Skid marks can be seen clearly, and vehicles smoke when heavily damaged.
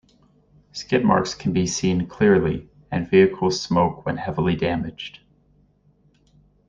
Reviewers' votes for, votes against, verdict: 2, 0, accepted